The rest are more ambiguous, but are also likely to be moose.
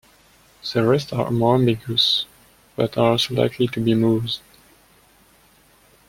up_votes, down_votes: 2, 0